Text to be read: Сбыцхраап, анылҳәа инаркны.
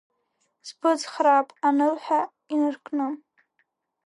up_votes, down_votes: 2, 0